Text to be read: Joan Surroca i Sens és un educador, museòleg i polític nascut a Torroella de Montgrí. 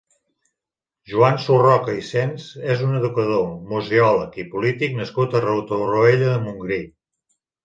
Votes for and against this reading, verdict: 1, 2, rejected